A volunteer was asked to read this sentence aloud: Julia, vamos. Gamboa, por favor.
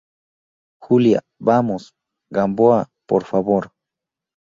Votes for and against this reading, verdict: 2, 0, accepted